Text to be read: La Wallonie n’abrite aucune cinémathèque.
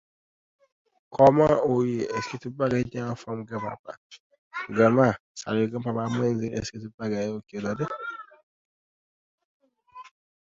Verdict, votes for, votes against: rejected, 0, 2